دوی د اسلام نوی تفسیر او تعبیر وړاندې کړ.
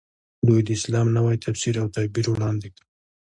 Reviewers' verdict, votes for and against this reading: accepted, 2, 0